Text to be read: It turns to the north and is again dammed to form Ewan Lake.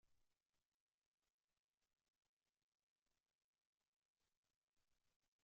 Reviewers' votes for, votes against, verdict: 0, 2, rejected